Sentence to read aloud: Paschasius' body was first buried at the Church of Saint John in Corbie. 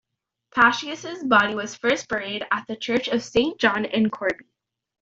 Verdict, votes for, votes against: accepted, 2, 0